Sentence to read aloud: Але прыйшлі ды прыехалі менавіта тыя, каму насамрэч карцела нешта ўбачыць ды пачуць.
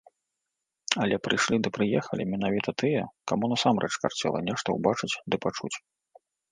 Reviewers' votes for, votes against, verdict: 2, 0, accepted